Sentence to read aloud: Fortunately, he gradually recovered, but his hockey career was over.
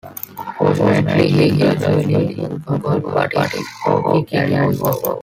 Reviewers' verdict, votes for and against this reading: rejected, 0, 2